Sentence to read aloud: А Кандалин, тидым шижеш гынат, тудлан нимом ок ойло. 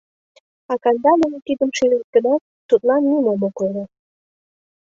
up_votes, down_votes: 2, 0